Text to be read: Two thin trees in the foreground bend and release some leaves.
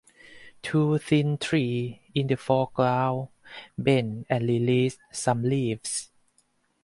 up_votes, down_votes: 4, 2